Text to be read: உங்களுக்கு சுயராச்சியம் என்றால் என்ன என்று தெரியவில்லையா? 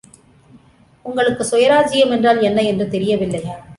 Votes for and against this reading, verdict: 2, 0, accepted